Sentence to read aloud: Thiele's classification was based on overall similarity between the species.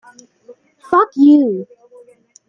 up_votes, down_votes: 0, 2